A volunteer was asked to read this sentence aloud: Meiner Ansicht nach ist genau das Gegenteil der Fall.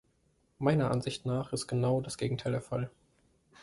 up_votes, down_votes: 2, 0